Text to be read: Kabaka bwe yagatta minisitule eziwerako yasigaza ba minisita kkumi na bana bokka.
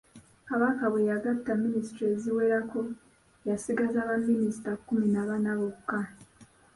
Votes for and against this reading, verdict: 2, 0, accepted